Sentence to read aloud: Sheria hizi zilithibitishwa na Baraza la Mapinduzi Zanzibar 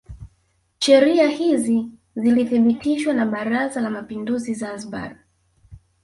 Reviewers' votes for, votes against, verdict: 1, 2, rejected